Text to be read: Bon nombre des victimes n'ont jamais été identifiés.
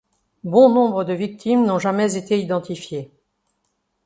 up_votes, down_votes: 1, 2